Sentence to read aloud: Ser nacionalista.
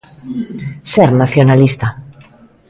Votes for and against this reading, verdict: 2, 0, accepted